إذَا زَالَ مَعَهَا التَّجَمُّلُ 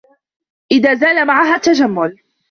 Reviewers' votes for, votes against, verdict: 2, 1, accepted